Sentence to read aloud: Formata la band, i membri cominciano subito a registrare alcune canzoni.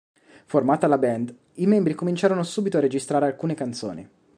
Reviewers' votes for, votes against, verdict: 2, 1, accepted